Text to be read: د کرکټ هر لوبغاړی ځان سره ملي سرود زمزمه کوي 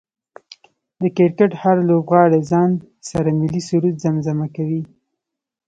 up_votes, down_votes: 2, 1